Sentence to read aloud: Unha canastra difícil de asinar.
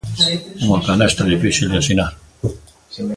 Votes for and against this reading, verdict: 2, 0, accepted